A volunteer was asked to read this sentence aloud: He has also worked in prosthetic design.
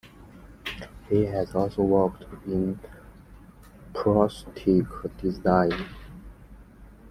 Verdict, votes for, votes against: rejected, 0, 2